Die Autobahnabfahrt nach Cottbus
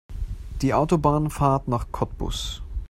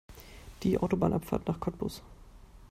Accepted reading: second